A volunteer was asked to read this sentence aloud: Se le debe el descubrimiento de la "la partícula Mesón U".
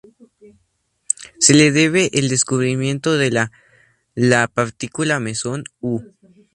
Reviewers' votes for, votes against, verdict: 4, 0, accepted